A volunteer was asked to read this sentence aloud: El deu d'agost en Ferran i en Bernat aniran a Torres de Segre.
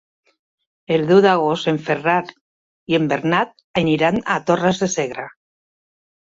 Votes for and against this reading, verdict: 2, 1, accepted